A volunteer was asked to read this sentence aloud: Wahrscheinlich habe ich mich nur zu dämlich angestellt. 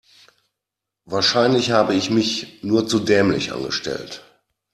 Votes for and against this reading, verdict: 2, 0, accepted